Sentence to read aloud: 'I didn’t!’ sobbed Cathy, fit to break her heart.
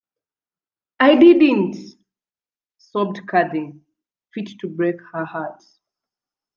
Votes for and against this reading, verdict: 2, 0, accepted